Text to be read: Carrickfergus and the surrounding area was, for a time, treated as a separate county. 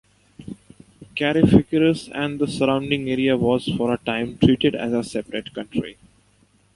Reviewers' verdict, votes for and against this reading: accepted, 2, 0